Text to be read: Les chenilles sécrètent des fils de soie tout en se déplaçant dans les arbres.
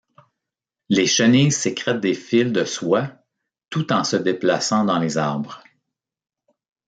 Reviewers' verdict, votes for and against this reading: accepted, 2, 0